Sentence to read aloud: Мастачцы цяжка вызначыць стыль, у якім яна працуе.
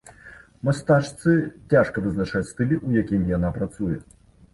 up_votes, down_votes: 0, 2